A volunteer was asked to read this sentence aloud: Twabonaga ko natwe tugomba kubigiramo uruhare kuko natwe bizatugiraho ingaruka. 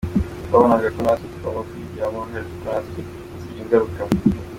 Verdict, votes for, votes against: accepted, 2, 1